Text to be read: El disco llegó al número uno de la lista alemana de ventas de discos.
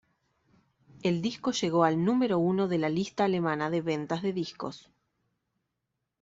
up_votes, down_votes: 2, 0